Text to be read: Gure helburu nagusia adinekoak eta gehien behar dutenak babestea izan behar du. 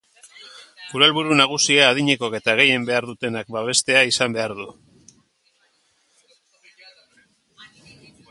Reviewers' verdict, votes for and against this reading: accepted, 2, 0